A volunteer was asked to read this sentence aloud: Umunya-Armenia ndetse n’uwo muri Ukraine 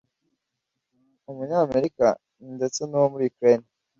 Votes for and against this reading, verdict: 0, 2, rejected